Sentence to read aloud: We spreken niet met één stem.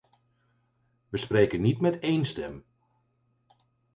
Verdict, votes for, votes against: accepted, 4, 0